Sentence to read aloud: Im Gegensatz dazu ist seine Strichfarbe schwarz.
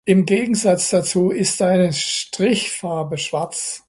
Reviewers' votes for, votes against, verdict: 1, 2, rejected